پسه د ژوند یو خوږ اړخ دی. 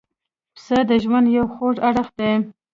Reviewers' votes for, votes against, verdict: 0, 2, rejected